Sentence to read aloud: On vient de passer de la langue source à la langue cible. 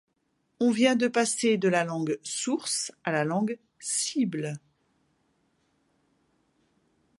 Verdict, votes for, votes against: accepted, 2, 0